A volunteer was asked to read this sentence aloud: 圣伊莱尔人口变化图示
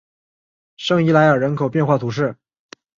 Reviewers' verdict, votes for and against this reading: accepted, 3, 0